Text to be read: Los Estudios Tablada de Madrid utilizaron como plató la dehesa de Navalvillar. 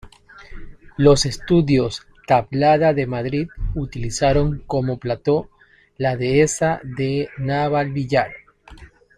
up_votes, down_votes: 2, 0